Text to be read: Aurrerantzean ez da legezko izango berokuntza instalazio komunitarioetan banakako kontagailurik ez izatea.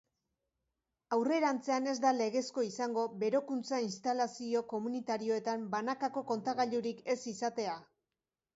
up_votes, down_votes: 2, 0